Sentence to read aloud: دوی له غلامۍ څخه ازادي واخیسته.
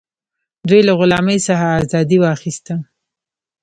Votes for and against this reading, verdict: 0, 2, rejected